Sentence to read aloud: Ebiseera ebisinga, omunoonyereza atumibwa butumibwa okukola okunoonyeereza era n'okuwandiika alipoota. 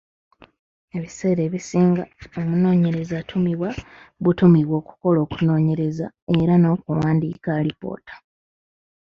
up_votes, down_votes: 2, 1